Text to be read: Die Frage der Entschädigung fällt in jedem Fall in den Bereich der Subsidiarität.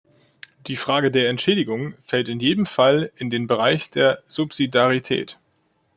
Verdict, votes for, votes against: rejected, 0, 2